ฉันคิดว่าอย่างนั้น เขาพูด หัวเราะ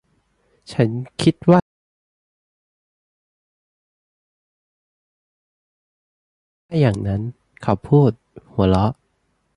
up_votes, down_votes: 1, 2